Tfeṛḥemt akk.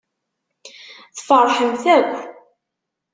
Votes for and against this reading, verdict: 2, 0, accepted